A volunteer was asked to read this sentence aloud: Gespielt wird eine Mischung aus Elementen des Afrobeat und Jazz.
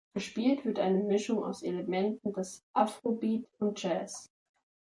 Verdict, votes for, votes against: accepted, 2, 0